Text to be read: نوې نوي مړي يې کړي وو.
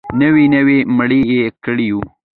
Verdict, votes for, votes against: accepted, 2, 0